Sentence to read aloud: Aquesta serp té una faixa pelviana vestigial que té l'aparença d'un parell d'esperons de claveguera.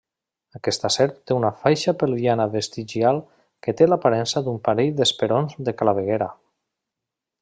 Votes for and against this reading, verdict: 2, 0, accepted